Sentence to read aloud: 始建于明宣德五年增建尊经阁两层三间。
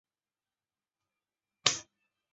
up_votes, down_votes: 1, 2